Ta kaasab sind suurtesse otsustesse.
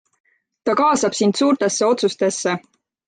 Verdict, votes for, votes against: accepted, 3, 0